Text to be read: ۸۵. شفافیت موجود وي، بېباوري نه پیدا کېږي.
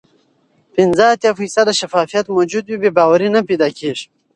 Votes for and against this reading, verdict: 0, 2, rejected